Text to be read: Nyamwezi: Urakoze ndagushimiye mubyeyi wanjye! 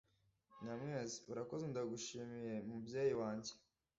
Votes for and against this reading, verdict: 2, 0, accepted